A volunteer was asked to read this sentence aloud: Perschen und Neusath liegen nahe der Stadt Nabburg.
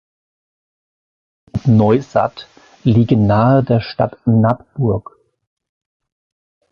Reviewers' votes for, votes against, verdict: 0, 3, rejected